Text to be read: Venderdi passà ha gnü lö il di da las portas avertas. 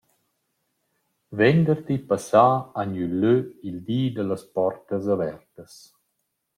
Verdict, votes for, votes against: accepted, 2, 0